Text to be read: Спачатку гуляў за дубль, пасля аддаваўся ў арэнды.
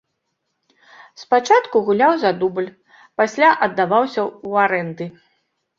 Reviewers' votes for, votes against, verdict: 2, 0, accepted